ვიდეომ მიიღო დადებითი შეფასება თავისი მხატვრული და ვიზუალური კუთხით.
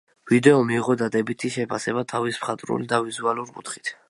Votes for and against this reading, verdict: 1, 2, rejected